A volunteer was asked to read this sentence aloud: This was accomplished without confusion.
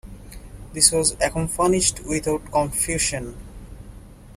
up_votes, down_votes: 0, 2